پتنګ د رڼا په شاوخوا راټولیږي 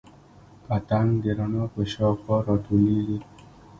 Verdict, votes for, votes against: accepted, 2, 1